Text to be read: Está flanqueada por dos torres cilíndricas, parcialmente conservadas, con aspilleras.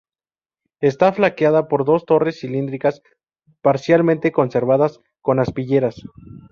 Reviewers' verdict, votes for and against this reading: rejected, 0, 2